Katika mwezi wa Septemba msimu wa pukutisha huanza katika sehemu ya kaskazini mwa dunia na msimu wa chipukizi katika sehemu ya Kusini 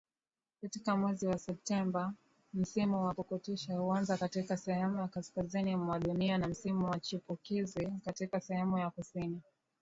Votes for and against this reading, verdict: 7, 1, accepted